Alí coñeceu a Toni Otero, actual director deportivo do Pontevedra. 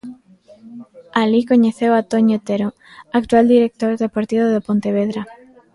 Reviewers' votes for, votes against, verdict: 1, 2, rejected